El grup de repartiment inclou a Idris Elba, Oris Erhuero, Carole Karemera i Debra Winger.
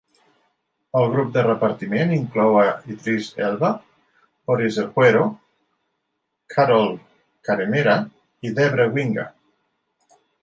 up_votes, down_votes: 2, 0